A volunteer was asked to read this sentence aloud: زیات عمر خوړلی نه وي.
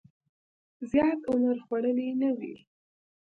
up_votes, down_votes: 2, 0